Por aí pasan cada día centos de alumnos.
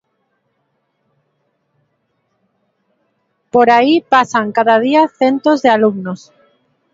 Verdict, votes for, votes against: rejected, 1, 2